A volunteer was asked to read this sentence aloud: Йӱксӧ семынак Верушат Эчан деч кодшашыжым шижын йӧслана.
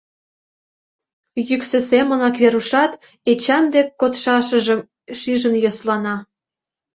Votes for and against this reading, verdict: 1, 2, rejected